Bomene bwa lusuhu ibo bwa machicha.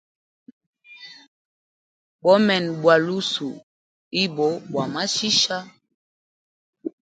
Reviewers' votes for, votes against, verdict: 2, 0, accepted